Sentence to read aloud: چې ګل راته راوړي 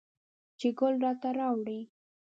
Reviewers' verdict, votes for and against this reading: accepted, 8, 0